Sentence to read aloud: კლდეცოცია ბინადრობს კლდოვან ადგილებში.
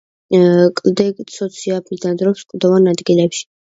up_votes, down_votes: 0, 2